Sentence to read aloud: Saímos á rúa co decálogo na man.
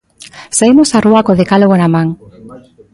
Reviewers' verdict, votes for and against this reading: accepted, 2, 0